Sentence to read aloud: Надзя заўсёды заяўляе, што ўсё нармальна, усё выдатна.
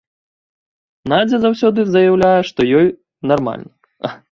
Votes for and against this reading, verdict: 0, 2, rejected